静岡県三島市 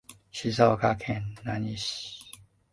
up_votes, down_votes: 0, 2